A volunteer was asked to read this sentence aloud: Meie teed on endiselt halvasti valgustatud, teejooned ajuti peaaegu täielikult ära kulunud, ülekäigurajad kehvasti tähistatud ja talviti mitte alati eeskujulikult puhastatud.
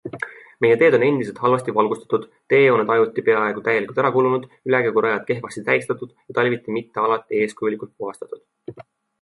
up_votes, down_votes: 2, 0